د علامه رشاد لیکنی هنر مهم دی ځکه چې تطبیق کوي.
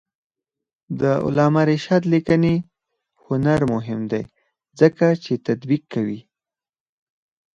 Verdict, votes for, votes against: rejected, 0, 4